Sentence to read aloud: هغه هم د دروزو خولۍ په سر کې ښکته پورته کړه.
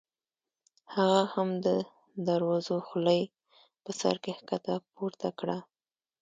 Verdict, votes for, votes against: accepted, 2, 1